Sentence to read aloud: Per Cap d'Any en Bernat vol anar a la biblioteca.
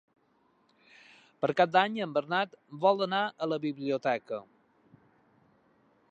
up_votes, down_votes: 3, 1